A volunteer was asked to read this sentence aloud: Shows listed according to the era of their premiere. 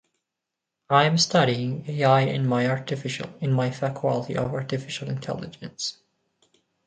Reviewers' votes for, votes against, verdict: 0, 2, rejected